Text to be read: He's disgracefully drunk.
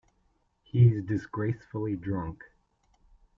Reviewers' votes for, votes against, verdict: 1, 2, rejected